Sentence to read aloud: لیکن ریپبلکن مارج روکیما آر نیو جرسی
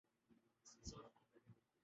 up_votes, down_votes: 0, 2